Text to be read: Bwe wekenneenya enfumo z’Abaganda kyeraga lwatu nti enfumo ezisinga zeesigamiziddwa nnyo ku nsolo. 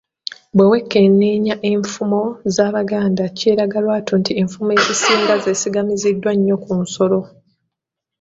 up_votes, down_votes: 2, 0